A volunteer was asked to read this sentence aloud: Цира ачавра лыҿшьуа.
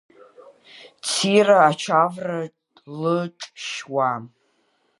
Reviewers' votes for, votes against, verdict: 1, 2, rejected